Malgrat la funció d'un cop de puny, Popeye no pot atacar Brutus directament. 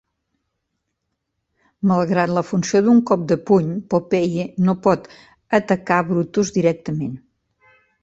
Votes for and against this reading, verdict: 3, 0, accepted